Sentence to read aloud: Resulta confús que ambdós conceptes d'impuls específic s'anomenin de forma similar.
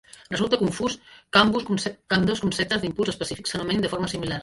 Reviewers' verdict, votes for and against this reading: rejected, 0, 2